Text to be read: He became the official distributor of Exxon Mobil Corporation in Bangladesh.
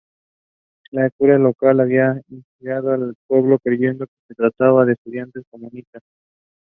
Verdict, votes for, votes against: rejected, 0, 2